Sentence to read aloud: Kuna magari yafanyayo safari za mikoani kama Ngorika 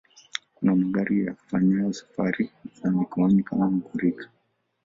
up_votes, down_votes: 2, 0